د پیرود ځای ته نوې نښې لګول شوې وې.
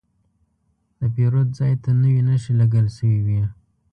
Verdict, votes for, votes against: accepted, 2, 0